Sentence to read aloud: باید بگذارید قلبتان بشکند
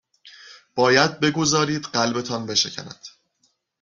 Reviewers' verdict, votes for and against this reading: accepted, 2, 0